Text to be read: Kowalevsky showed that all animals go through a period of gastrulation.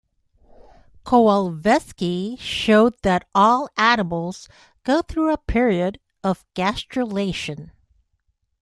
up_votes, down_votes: 1, 2